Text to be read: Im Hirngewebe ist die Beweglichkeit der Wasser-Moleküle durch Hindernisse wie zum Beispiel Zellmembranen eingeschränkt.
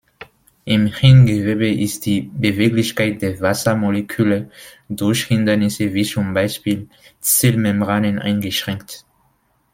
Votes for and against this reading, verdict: 2, 0, accepted